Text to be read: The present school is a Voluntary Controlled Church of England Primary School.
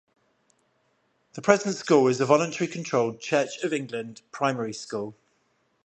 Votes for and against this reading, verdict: 0, 5, rejected